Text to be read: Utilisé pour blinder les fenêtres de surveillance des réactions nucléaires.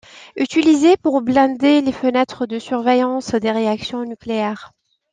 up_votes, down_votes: 2, 0